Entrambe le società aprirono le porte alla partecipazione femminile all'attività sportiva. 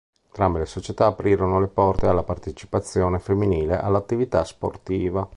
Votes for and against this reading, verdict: 1, 2, rejected